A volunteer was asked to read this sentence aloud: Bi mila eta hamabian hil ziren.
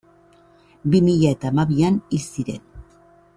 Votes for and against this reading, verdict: 2, 0, accepted